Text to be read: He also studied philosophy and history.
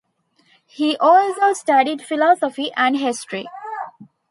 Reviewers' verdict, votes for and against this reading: rejected, 1, 2